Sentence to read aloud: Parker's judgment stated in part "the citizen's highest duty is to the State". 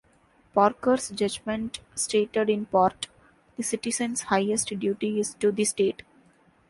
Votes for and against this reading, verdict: 2, 0, accepted